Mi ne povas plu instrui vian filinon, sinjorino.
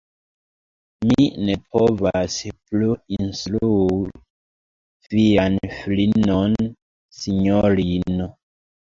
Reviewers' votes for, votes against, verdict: 1, 2, rejected